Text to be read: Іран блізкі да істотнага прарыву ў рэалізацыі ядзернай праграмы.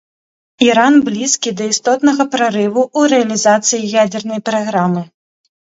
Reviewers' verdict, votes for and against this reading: rejected, 0, 2